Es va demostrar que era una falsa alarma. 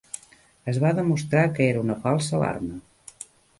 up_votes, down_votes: 2, 0